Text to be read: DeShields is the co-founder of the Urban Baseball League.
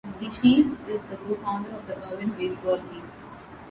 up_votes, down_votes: 3, 1